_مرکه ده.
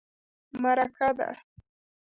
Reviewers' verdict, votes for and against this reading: accepted, 2, 0